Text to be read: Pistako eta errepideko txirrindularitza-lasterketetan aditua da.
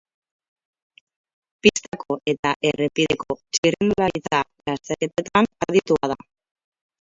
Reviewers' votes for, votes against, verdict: 0, 4, rejected